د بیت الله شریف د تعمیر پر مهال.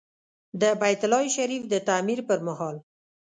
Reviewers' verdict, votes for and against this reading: accepted, 2, 0